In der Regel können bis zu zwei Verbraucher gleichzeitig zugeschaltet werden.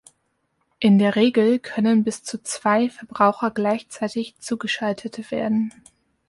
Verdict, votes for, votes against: rejected, 1, 2